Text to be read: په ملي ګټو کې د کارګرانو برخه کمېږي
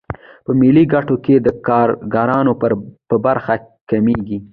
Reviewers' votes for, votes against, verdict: 2, 0, accepted